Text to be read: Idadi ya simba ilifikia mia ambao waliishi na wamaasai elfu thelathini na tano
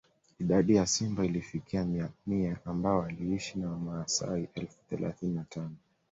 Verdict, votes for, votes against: rejected, 1, 2